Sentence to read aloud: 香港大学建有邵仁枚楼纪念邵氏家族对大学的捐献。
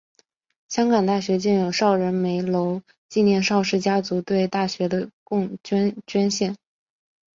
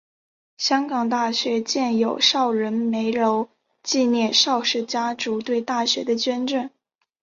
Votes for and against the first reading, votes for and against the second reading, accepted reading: 1, 2, 2, 0, second